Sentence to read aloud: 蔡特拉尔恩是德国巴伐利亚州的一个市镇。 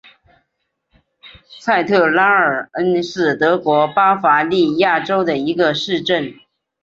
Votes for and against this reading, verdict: 3, 1, accepted